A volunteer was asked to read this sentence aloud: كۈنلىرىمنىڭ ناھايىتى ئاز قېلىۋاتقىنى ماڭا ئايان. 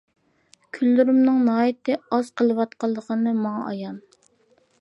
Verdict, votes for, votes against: rejected, 0, 2